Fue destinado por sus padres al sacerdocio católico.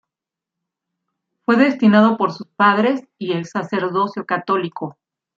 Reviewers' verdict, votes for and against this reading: rejected, 0, 2